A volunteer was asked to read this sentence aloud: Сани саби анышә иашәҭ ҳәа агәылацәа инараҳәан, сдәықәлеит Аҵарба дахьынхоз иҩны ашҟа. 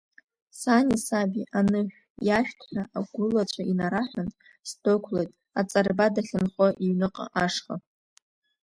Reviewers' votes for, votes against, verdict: 2, 1, accepted